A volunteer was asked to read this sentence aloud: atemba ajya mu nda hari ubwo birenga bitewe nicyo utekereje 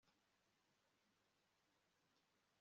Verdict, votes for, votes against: rejected, 0, 2